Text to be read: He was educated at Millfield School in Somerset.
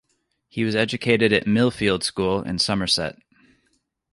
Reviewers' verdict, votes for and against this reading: accepted, 2, 0